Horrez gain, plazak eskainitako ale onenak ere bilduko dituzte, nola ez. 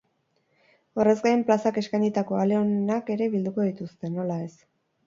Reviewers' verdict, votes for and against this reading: rejected, 0, 2